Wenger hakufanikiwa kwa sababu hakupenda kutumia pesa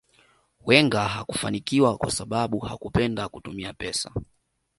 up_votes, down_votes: 2, 0